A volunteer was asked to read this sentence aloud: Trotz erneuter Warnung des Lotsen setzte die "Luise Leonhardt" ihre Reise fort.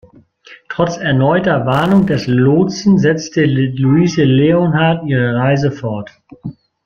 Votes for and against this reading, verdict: 0, 2, rejected